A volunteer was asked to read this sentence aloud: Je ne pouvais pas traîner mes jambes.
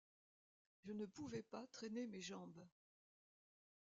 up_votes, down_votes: 1, 2